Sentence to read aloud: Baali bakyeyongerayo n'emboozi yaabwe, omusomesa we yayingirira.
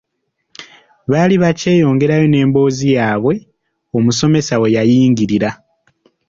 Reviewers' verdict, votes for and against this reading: accepted, 3, 0